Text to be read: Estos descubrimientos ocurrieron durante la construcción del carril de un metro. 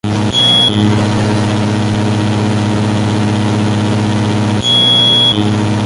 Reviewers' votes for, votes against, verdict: 0, 2, rejected